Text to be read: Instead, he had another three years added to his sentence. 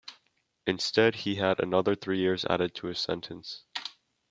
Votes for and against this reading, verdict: 2, 0, accepted